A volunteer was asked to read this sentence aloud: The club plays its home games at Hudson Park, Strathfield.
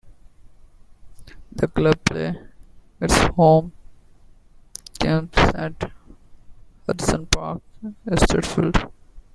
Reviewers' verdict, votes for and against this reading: rejected, 1, 2